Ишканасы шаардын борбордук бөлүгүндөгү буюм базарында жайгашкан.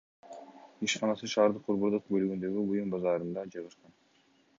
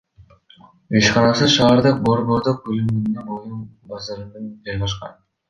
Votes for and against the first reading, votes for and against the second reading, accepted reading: 2, 0, 1, 2, first